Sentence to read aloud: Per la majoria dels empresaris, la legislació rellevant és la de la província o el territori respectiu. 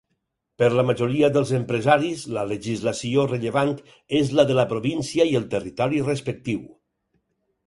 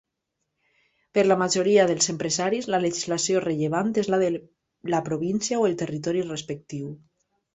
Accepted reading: second